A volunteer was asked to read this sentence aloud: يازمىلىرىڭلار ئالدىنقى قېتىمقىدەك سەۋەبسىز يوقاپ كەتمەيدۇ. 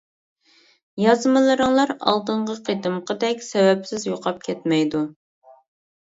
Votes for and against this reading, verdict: 2, 0, accepted